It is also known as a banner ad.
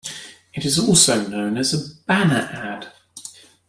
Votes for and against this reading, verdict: 1, 2, rejected